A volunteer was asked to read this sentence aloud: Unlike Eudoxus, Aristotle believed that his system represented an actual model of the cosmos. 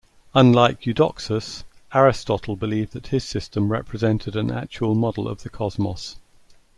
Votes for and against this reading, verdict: 2, 0, accepted